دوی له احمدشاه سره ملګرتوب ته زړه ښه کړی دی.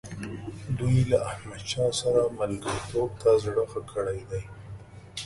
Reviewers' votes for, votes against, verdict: 3, 1, accepted